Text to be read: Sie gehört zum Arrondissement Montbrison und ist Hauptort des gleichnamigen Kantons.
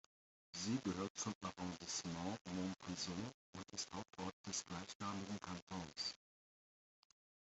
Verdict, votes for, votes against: rejected, 1, 2